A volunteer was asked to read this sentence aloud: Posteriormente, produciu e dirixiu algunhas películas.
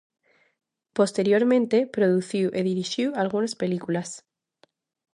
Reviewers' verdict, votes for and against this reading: rejected, 0, 2